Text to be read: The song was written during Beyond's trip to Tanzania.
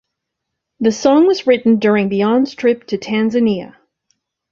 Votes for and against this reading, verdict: 2, 0, accepted